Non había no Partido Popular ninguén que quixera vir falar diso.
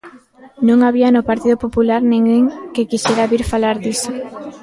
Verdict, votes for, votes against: rejected, 1, 2